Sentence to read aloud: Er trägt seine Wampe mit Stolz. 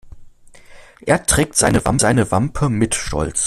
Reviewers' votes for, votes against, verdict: 0, 2, rejected